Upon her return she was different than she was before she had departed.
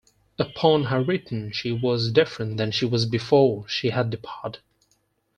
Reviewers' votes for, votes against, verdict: 2, 4, rejected